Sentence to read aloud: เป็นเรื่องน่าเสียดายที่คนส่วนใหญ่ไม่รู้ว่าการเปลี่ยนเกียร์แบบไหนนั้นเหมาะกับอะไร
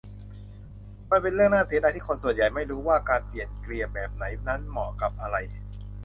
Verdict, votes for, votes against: rejected, 0, 2